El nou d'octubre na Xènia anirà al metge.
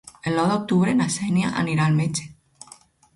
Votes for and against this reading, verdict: 4, 0, accepted